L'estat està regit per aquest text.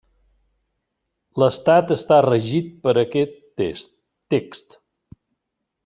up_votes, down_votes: 0, 2